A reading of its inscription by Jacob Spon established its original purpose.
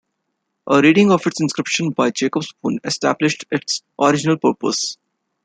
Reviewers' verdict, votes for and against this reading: accepted, 2, 0